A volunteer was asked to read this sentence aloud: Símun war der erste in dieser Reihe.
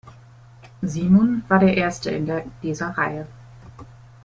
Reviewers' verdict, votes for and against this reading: rejected, 0, 2